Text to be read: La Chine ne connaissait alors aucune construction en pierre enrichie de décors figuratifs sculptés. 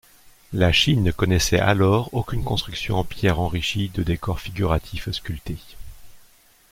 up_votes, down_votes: 2, 0